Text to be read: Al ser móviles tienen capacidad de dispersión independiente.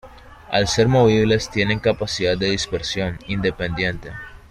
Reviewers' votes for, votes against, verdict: 1, 2, rejected